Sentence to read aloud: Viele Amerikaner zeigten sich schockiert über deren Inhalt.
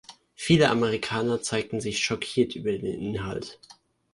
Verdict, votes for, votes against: rejected, 0, 2